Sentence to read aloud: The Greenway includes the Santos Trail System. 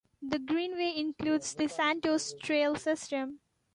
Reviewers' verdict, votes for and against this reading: accepted, 2, 0